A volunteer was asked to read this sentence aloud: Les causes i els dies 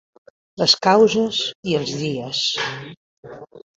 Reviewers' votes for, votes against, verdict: 3, 1, accepted